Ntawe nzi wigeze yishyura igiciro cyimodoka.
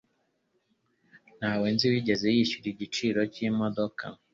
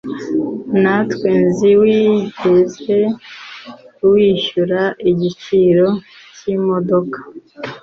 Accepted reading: first